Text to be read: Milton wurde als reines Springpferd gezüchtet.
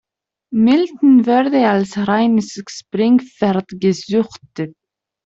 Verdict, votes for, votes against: rejected, 0, 2